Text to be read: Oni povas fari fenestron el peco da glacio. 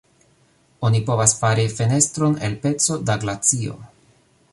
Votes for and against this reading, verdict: 2, 0, accepted